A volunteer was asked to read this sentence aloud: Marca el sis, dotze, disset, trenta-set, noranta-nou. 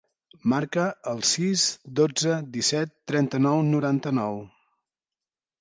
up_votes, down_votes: 0, 2